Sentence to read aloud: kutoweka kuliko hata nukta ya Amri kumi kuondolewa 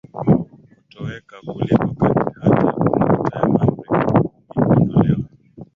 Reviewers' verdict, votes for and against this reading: rejected, 0, 2